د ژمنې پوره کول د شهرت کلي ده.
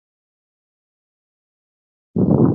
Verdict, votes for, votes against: rejected, 0, 2